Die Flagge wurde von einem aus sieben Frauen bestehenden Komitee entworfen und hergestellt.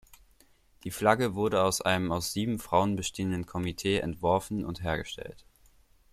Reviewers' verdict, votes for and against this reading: rejected, 1, 2